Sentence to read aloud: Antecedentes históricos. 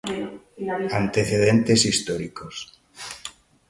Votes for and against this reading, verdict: 2, 0, accepted